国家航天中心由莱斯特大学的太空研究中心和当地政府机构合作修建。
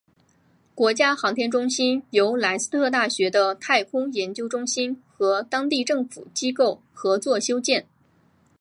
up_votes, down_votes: 3, 1